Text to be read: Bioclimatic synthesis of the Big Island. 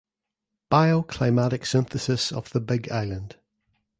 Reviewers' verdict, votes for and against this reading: accepted, 2, 0